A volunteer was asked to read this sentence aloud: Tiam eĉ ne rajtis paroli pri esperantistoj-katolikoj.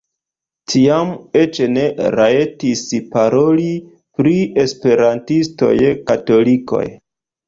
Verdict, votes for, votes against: rejected, 0, 2